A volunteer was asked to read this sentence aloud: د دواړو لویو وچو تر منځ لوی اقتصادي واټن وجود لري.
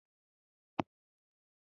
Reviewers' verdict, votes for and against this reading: rejected, 0, 2